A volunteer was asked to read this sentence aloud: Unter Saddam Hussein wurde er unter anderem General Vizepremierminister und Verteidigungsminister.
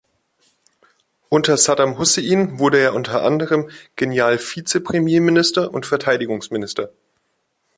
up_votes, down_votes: 0, 2